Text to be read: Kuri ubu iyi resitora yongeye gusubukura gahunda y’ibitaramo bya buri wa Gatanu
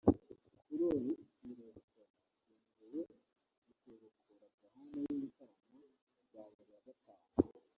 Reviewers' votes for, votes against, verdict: 0, 4, rejected